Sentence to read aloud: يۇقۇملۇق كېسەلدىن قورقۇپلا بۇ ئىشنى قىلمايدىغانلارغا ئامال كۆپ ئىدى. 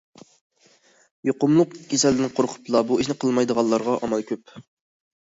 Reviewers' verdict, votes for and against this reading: rejected, 0, 2